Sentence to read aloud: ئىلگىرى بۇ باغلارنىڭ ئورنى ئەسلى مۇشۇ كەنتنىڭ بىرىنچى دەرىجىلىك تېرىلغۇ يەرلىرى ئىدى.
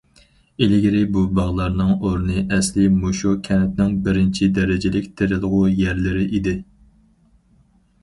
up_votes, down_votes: 4, 0